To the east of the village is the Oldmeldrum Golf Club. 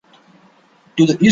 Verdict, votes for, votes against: rejected, 0, 2